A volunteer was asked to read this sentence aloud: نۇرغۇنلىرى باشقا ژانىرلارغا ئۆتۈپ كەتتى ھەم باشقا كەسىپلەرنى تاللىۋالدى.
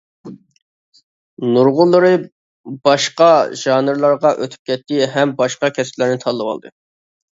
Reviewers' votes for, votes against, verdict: 2, 0, accepted